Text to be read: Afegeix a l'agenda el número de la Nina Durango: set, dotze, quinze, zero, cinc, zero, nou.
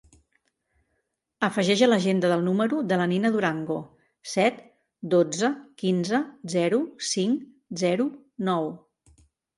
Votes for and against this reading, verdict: 0, 2, rejected